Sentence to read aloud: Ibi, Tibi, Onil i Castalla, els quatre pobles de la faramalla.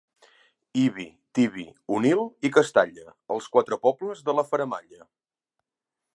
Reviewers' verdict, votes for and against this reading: accepted, 2, 0